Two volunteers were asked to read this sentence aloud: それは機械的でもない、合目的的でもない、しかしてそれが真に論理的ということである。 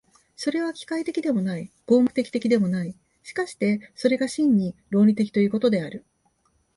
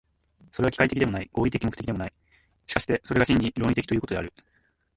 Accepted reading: first